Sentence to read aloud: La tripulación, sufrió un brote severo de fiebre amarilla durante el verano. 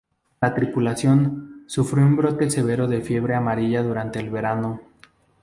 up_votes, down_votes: 2, 2